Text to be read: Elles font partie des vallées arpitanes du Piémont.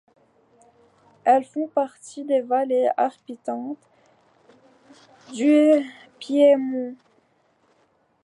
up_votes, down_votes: 0, 2